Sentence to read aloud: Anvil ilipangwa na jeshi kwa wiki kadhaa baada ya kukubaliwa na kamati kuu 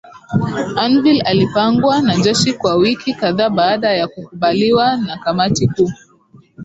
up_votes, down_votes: 2, 0